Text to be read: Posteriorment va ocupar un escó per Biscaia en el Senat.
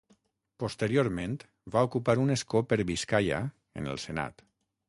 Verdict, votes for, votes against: accepted, 6, 0